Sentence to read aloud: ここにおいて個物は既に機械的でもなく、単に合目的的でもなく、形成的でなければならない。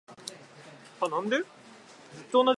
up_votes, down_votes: 0, 2